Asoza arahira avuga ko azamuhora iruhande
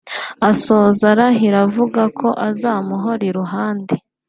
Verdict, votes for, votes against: accepted, 2, 1